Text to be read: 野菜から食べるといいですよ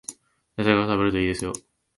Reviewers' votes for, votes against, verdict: 1, 2, rejected